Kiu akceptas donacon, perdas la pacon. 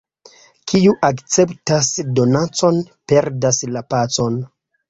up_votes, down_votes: 3, 2